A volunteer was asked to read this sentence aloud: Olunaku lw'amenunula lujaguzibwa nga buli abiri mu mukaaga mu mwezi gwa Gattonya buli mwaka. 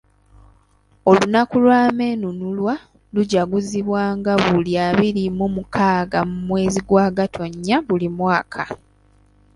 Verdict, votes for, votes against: rejected, 1, 2